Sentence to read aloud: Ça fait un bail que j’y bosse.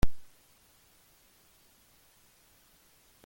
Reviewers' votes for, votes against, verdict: 0, 2, rejected